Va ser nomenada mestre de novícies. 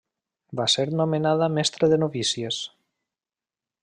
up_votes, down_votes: 3, 0